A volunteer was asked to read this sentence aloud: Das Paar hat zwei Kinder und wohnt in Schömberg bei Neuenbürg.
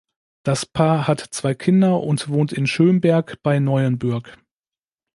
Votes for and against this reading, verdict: 2, 0, accepted